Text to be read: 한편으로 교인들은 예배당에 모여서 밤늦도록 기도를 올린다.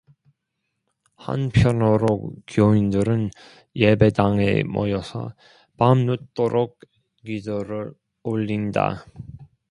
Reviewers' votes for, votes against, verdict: 1, 2, rejected